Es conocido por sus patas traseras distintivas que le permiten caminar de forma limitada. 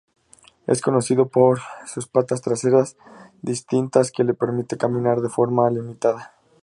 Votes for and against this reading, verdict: 0, 2, rejected